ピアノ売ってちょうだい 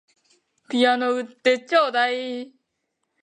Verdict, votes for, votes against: accepted, 2, 0